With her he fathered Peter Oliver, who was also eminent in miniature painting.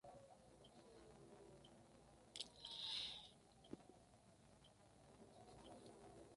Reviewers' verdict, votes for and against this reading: rejected, 0, 2